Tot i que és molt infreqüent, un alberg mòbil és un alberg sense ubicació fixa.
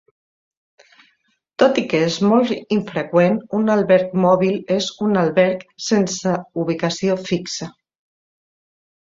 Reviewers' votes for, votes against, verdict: 2, 0, accepted